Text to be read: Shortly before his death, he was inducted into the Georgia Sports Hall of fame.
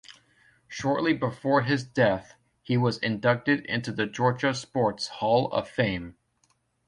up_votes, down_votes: 2, 0